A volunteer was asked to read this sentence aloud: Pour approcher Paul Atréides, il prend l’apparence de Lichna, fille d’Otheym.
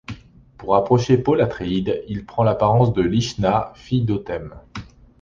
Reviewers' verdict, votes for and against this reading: accepted, 2, 0